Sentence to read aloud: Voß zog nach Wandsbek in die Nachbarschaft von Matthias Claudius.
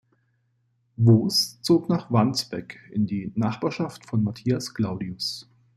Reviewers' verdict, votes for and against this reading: rejected, 1, 2